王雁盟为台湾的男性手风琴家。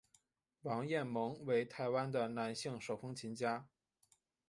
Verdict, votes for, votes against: accepted, 4, 1